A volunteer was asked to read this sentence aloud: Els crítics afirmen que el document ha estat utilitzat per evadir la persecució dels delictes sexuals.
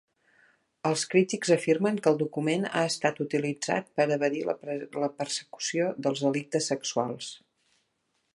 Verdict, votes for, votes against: rejected, 0, 2